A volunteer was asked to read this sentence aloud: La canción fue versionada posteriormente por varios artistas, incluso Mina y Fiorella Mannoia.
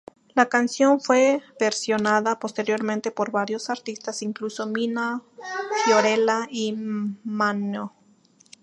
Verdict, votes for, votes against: rejected, 0, 2